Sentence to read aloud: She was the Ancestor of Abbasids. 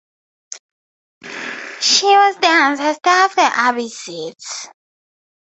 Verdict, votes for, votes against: rejected, 2, 2